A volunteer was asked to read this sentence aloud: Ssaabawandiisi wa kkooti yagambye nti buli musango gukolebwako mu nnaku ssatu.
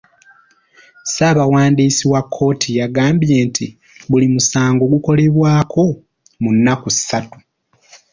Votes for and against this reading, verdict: 2, 0, accepted